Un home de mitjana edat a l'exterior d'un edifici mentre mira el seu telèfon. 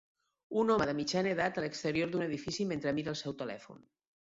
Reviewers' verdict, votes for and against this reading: accepted, 3, 0